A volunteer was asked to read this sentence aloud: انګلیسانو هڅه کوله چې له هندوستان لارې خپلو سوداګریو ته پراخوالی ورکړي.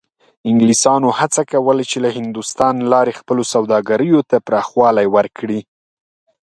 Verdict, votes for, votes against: accepted, 2, 0